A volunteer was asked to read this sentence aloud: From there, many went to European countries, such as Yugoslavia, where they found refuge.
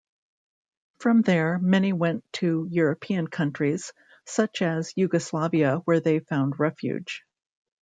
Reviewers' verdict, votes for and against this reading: accepted, 2, 0